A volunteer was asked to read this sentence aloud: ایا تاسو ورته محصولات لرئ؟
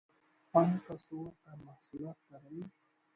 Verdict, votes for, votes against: rejected, 1, 2